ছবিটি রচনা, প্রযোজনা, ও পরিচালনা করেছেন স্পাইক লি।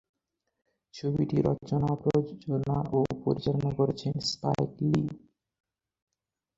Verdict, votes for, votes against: rejected, 28, 44